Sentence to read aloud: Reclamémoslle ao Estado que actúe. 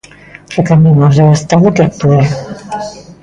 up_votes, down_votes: 0, 2